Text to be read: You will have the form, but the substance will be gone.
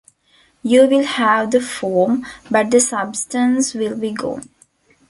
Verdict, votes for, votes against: accepted, 3, 0